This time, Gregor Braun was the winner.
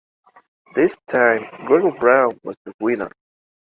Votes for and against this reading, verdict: 2, 0, accepted